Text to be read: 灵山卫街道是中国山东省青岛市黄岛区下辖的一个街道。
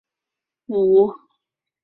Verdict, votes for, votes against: rejected, 0, 4